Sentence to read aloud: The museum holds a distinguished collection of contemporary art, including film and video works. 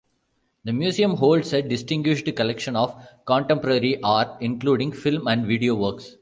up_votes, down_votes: 2, 0